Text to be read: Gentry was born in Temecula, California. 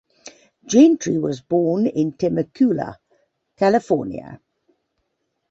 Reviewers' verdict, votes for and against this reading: accepted, 2, 0